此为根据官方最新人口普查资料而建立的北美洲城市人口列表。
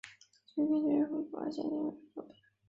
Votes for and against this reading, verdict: 1, 3, rejected